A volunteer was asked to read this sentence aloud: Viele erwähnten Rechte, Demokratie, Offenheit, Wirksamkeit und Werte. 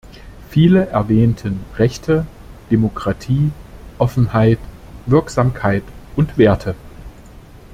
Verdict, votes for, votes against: accepted, 2, 0